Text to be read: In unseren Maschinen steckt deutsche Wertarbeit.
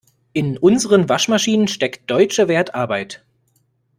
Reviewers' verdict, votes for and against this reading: rejected, 0, 2